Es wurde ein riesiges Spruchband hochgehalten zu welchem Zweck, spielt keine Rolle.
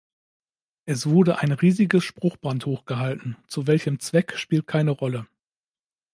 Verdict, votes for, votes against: accepted, 2, 0